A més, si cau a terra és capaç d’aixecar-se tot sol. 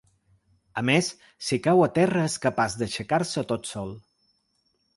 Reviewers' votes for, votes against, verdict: 5, 0, accepted